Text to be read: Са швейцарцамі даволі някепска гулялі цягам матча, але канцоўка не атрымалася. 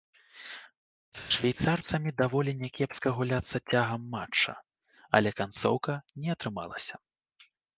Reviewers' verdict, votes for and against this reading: rejected, 0, 2